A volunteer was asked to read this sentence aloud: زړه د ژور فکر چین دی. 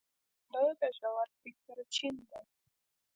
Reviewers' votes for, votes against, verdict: 0, 2, rejected